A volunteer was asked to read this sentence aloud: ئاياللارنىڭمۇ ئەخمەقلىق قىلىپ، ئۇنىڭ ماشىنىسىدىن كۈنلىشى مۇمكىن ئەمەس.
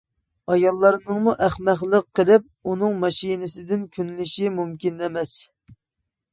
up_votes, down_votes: 2, 0